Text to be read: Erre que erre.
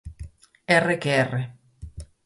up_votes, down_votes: 4, 0